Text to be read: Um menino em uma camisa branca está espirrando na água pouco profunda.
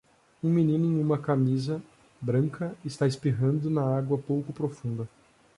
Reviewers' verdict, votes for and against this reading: accepted, 2, 0